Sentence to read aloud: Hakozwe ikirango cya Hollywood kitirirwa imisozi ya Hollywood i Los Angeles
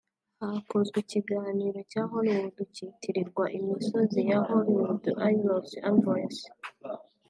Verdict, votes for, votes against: rejected, 1, 2